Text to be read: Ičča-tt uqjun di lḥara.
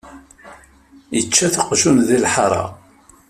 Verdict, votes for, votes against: rejected, 0, 2